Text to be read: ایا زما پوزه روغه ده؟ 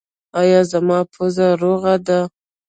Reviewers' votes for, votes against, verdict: 1, 2, rejected